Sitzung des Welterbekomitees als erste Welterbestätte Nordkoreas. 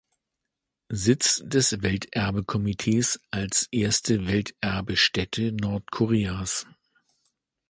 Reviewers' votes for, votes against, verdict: 0, 2, rejected